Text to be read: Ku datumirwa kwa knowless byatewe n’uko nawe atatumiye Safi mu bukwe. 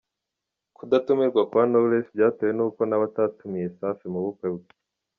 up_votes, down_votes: 2, 0